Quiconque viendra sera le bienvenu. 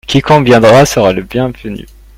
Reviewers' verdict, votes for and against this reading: accepted, 2, 0